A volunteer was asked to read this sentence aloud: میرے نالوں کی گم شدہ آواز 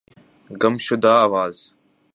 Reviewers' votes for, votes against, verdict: 0, 2, rejected